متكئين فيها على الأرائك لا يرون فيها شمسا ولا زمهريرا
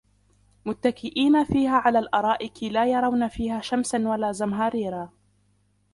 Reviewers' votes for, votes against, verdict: 1, 2, rejected